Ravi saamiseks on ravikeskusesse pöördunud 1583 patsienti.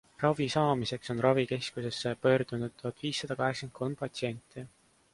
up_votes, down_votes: 0, 2